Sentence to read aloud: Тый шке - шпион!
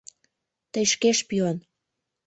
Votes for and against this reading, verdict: 3, 0, accepted